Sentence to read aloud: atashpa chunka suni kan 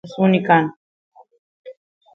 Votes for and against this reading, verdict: 0, 2, rejected